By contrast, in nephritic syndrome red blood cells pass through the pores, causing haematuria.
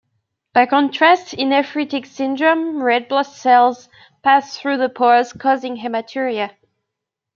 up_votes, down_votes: 2, 1